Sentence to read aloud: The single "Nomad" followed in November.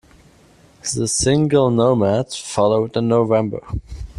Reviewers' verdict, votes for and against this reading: rejected, 1, 2